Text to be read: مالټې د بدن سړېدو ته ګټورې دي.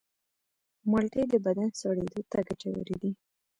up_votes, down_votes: 0, 2